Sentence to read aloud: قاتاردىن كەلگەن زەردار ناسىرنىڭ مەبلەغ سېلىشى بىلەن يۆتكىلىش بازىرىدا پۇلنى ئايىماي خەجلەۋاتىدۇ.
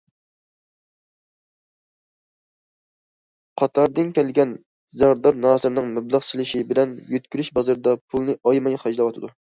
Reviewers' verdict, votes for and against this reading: accepted, 2, 0